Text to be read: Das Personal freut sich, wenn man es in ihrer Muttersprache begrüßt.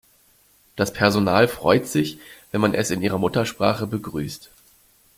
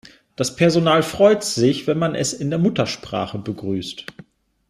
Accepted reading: first